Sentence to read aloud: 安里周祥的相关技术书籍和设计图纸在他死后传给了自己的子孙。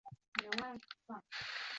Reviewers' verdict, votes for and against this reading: rejected, 0, 2